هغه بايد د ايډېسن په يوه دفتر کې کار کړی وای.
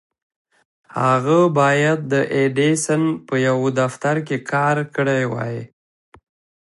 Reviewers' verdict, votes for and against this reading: accepted, 2, 1